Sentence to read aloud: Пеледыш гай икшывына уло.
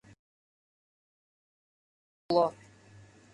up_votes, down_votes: 0, 2